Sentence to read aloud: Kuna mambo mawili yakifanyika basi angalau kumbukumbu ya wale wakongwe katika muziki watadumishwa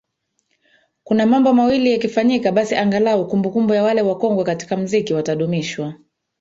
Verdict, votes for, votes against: rejected, 1, 2